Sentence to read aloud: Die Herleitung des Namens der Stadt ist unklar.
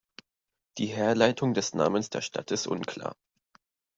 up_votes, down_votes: 2, 0